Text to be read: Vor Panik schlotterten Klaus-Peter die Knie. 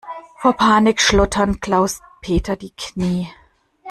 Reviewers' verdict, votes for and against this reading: rejected, 1, 2